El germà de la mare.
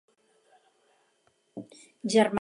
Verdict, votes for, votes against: rejected, 0, 4